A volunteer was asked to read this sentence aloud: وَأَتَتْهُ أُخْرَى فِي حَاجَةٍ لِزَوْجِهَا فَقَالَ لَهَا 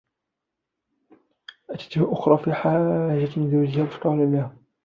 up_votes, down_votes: 0, 2